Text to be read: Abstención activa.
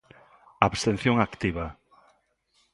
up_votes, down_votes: 2, 0